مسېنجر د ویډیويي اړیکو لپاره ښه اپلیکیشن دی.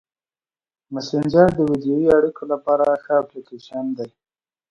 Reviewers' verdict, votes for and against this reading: accepted, 2, 1